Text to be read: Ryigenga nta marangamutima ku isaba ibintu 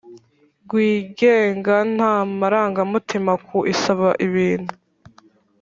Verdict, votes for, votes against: accepted, 3, 2